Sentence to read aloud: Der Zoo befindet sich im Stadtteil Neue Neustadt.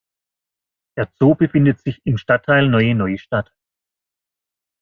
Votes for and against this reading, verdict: 2, 0, accepted